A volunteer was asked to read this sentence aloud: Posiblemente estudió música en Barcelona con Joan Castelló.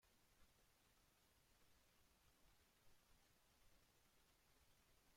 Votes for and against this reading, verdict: 0, 2, rejected